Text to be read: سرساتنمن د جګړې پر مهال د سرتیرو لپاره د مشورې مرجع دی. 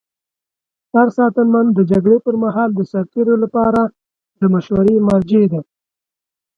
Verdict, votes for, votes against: accepted, 2, 0